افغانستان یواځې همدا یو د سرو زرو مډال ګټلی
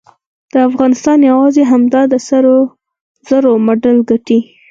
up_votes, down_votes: 2, 4